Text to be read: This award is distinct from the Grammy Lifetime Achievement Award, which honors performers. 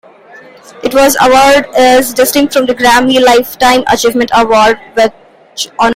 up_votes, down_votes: 0, 3